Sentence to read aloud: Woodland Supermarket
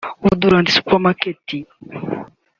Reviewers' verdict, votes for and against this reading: rejected, 1, 2